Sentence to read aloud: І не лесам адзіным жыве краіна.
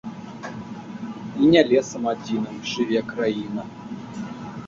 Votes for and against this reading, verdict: 2, 1, accepted